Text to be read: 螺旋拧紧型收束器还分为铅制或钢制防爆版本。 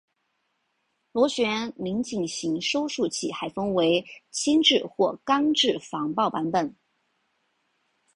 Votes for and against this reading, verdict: 2, 0, accepted